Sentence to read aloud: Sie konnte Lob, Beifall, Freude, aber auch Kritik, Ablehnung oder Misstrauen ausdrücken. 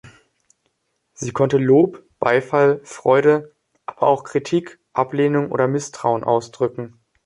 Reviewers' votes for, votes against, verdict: 1, 2, rejected